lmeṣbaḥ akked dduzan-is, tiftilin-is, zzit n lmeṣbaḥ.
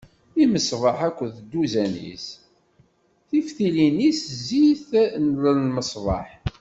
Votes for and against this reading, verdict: 1, 2, rejected